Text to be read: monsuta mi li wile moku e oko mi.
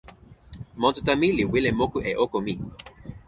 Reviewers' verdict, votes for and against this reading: accepted, 4, 0